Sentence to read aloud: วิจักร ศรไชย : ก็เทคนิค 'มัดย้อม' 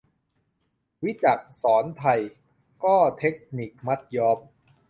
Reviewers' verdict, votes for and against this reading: rejected, 0, 2